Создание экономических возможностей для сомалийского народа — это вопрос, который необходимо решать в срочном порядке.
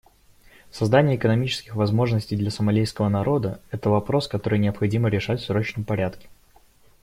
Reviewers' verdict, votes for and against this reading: accepted, 2, 0